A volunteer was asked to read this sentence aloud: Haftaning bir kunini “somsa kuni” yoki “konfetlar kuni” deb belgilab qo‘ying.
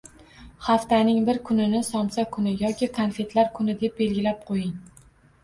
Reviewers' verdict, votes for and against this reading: rejected, 1, 2